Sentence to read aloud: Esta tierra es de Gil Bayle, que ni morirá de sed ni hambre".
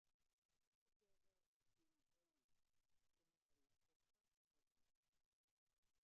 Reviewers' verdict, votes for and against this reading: rejected, 0, 2